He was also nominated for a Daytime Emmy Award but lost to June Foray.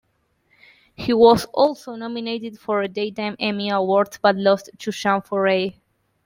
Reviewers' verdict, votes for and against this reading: accepted, 2, 1